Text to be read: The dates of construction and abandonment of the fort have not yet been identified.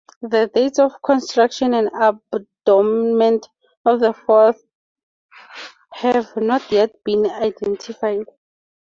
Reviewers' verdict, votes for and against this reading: rejected, 0, 2